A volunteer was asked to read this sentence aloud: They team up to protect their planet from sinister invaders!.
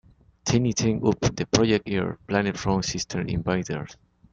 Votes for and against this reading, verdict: 0, 2, rejected